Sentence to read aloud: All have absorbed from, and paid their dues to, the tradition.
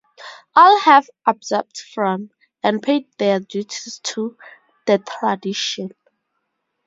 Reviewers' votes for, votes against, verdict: 2, 0, accepted